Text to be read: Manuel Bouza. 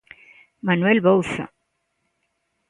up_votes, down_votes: 1, 2